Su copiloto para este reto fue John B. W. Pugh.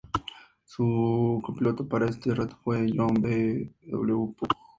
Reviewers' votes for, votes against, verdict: 0, 2, rejected